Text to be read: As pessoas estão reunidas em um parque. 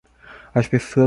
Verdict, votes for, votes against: rejected, 0, 2